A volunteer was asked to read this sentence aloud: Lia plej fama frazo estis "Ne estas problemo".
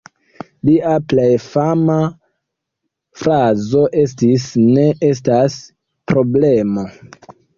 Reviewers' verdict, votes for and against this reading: rejected, 1, 2